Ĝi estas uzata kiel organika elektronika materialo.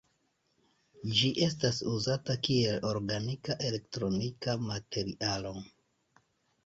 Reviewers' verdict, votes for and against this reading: accepted, 2, 1